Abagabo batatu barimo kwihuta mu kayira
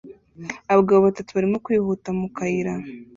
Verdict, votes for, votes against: accepted, 2, 0